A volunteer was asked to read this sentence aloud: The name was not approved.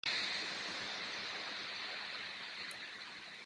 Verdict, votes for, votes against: rejected, 0, 2